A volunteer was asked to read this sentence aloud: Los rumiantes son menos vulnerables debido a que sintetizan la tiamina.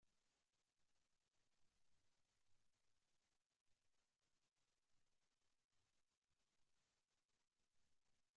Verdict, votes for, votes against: rejected, 0, 2